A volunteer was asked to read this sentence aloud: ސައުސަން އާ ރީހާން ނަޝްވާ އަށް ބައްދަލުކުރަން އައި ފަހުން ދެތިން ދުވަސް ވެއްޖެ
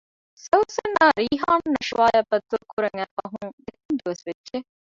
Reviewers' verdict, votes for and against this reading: rejected, 1, 2